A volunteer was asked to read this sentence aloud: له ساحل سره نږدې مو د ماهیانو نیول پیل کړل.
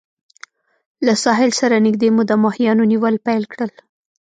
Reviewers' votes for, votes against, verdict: 2, 0, accepted